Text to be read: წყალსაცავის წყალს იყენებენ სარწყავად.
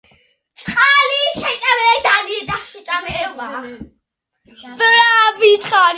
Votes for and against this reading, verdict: 0, 2, rejected